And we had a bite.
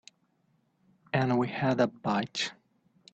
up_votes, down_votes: 2, 0